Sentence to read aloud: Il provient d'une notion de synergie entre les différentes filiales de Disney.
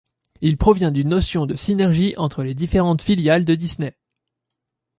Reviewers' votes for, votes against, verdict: 2, 0, accepted